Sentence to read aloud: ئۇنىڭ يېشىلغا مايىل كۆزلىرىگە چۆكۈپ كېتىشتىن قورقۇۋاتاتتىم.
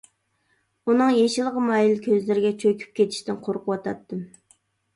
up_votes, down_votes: 2, 0